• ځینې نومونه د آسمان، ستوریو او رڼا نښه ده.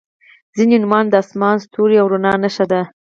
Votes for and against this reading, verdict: 2, 4, rejected